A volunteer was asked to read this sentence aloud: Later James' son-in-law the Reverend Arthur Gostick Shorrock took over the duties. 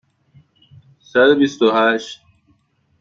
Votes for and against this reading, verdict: 0, 2, rejected